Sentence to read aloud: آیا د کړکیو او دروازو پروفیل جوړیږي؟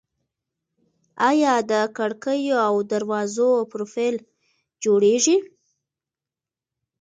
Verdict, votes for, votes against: accepted, 2, 0